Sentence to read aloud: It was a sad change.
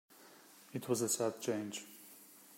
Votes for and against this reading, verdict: 2, 0, accepted